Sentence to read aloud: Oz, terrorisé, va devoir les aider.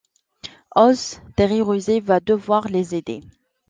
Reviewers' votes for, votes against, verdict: 1, 2, rejected